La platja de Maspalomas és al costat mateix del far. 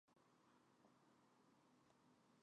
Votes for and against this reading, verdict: 0, 2, rejected